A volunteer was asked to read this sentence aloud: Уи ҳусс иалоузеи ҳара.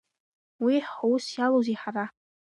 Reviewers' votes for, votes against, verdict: 2, 0, accepted